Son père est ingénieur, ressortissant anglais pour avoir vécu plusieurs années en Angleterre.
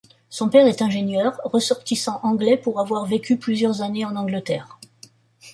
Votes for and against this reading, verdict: 2, 0, accepted